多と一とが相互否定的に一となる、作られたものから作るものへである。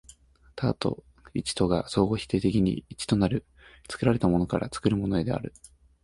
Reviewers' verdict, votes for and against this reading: accepted, 2, 0